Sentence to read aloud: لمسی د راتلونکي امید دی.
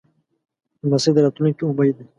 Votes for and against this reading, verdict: 2, 0, accepted